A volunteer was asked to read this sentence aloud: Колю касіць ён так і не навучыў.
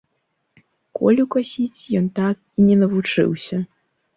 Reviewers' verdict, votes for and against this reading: rejected, 1, 3